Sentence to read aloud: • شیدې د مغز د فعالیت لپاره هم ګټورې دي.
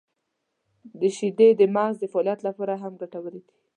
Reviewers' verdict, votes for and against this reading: accepted, 2, 0